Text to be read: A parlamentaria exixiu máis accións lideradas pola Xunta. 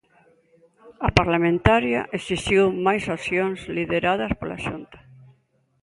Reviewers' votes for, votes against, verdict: 2, 0, accepted